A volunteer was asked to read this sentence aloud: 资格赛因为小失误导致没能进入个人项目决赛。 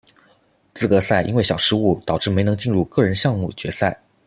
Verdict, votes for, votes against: accepted, 2, 0